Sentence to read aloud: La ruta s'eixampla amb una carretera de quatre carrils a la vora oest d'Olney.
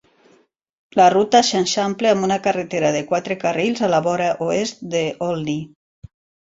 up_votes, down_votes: 0, 3